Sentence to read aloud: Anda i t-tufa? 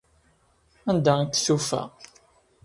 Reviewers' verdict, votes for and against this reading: accepted, 2, 0